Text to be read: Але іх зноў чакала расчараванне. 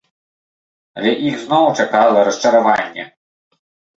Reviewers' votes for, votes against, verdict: 2, 0, accepted